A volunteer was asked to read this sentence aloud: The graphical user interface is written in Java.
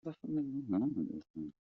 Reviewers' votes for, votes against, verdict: 0, 2, rejected